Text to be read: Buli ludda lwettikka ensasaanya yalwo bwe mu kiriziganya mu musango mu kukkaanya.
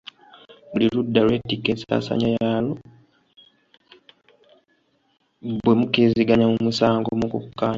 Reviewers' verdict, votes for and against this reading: rejected, 2, 3